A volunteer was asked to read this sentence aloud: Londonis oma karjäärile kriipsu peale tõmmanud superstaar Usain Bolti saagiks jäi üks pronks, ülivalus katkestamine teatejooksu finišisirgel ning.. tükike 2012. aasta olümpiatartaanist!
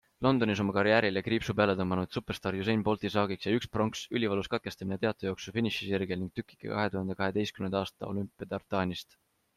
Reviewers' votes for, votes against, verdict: 0, 2, rejected